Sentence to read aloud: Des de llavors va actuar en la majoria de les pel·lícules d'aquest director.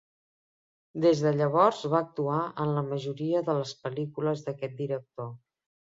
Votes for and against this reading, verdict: 3, 0, accepted